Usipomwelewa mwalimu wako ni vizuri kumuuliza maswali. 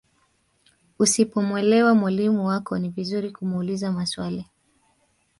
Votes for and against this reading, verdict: 2, 1, accepted